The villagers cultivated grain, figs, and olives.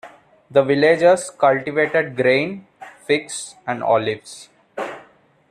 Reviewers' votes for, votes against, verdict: 2, 0, accepted